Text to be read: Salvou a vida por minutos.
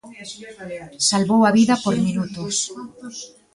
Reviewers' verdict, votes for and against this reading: accepted, 2, 1